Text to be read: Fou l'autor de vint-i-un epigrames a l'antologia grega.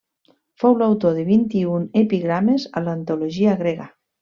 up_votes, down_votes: 3, 0